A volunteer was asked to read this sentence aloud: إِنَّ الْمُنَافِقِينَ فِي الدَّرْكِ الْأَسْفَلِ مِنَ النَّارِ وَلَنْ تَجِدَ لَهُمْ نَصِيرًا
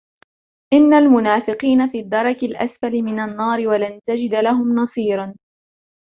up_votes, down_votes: 1, 2